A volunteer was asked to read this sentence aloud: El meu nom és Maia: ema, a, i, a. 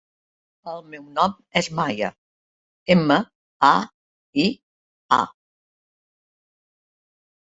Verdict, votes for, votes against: accepted, 3, 0